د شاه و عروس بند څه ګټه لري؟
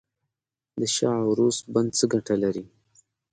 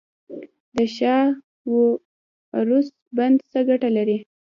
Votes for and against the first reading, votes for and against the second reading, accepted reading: 2, 0, 1, 2, first